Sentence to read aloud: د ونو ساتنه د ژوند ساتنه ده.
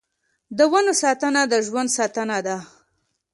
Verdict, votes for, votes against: accepted, 2, 0